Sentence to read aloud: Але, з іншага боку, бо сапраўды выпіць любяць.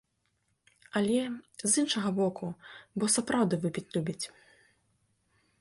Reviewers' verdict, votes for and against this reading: rejected, 0, 2